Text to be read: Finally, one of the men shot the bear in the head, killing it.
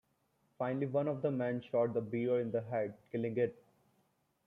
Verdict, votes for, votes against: rejected, 1, 2